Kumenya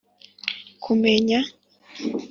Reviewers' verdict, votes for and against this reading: accepted, 2, 0